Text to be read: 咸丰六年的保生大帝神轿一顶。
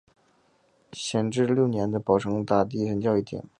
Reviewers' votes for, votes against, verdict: 2, 1, accepted